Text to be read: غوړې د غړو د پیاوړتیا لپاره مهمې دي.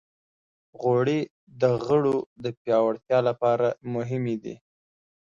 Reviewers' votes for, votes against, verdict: 2, 0, accepted